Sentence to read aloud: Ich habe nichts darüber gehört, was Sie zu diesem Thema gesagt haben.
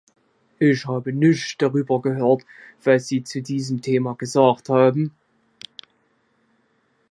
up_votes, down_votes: 0, 2